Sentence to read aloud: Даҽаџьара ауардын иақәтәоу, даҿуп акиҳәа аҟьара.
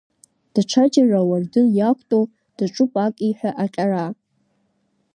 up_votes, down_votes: 1, 2